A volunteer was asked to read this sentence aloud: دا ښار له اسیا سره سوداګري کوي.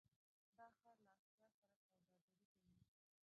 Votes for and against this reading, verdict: 1, 2, rejected